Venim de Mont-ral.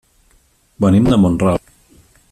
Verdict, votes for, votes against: rejected, 0, 2